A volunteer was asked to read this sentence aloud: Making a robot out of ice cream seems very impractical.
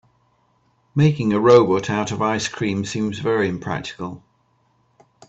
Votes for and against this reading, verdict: 2, 0, accepted